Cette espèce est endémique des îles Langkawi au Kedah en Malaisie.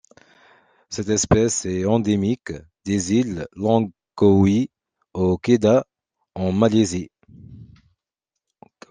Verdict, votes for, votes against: rejected, 0, 2